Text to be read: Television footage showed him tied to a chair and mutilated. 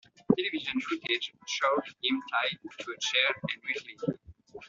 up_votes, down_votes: 2, 1